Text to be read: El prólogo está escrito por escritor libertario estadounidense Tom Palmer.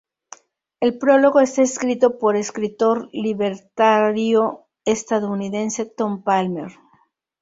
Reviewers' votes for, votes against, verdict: 0, 4, rejected